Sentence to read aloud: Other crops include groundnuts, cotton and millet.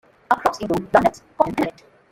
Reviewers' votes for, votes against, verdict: 0, 2, rejected